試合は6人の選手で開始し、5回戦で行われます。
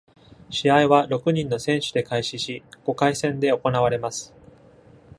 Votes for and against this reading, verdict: 0, 2, rejected